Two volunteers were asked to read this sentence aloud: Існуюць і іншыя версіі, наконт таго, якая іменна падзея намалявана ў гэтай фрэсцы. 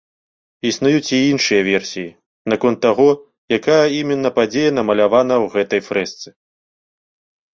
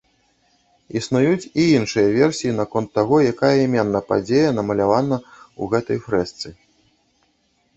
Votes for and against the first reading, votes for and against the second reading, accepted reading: 2, 0, 1, 2, first